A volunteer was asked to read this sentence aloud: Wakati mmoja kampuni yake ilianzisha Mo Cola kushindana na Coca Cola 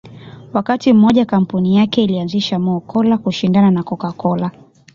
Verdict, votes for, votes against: accepted, 2, 0